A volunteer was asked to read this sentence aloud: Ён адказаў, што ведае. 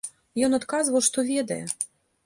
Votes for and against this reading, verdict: 0, 2, rejected